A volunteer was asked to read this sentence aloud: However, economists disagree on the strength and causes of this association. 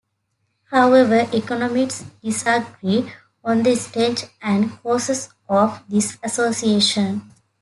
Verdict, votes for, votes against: rejected, 0, 2